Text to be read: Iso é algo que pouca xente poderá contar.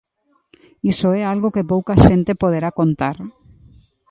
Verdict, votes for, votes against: accepted, 2, 0